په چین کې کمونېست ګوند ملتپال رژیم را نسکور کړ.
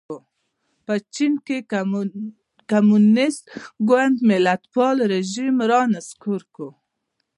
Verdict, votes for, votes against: rejected, 0, 2